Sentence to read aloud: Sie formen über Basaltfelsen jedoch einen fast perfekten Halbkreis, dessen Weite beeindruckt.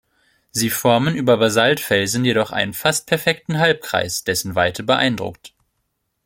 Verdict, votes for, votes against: accepted, 2, 0